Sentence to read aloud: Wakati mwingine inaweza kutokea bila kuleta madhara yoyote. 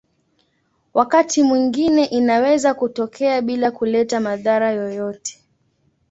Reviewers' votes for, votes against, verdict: 2, 0, accepted